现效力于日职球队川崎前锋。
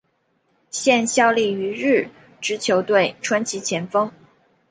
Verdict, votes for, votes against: accepted, 3, 2